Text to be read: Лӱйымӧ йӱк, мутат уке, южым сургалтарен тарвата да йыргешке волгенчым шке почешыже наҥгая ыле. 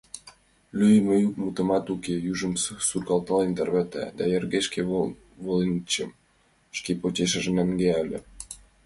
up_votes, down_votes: 0, 2